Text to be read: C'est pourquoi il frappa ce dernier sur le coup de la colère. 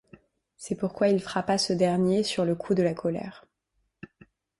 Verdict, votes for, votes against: accepted, 2, 0